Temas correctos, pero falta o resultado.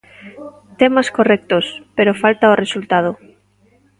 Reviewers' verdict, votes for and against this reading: rejected, 0, 2